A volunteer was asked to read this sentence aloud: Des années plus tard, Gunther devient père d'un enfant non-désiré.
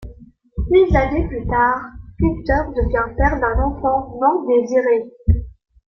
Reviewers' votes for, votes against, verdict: 2, 1, accepted